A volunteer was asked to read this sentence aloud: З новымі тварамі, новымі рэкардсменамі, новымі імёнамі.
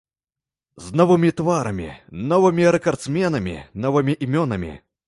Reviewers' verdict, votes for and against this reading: accepted, 2, 0